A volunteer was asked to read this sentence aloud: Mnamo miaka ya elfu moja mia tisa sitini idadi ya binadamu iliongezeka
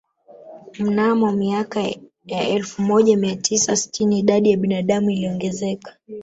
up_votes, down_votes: 2, 0